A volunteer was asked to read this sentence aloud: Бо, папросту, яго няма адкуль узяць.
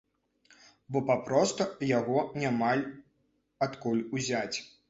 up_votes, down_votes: 1, 2